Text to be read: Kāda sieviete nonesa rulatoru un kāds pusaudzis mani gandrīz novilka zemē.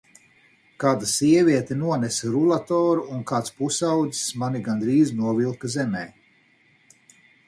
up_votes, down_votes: 4, 0